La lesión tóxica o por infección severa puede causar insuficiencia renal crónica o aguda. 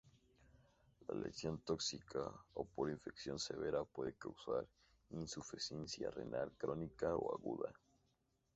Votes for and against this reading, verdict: 2, 0, accepted